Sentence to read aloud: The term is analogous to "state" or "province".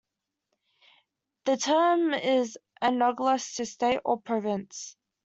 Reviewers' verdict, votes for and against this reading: accepted, 2, 1